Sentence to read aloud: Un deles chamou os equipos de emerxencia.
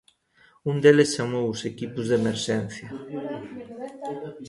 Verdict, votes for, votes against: rejected, 0, 2